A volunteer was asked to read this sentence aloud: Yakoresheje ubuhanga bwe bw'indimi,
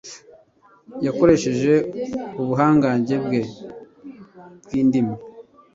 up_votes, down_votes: 1, 2